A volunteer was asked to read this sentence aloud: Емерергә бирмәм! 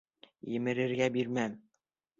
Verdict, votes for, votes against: accepted, 2, 0